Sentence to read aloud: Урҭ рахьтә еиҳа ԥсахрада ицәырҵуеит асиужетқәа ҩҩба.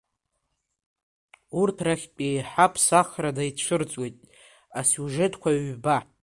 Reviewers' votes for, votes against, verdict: 1, 2, rejected